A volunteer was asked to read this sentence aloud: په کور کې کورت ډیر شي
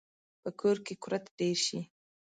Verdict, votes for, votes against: accepted, 2, 0